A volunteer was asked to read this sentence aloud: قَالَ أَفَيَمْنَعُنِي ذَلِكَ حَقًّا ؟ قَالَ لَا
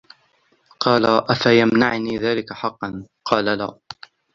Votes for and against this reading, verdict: 0, 2, rejected